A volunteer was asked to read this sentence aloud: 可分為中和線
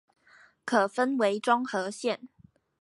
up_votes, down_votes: 4, 0